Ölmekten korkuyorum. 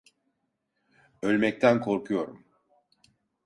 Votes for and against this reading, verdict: 2, 0, accepted